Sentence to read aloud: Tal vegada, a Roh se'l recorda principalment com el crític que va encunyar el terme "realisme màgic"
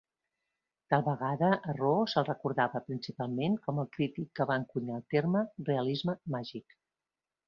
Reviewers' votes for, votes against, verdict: 1, 2, rejected